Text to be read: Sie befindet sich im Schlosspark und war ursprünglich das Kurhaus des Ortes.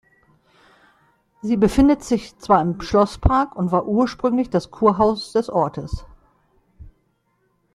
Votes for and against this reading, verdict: 0, 2, rejected